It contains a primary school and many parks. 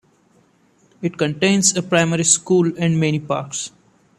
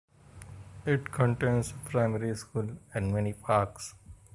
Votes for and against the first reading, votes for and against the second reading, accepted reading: 2, 0, 0, 2, first